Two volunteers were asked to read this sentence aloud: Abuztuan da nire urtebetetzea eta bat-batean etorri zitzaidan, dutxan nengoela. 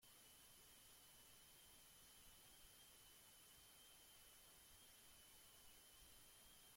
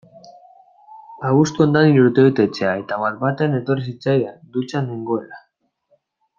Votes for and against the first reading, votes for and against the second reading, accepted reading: 0, 2, 2, 1, second